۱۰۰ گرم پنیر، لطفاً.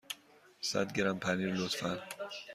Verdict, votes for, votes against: rejected, 0, 2